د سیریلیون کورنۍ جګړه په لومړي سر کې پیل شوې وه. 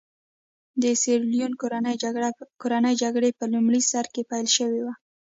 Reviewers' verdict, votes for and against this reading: accepted, 2, 0